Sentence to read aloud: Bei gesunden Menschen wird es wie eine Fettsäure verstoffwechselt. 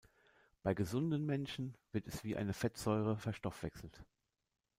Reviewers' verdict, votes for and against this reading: accepted, 2, 0